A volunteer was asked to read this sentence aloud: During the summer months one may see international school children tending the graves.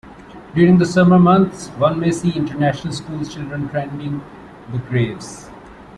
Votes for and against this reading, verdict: 1, 2, rejected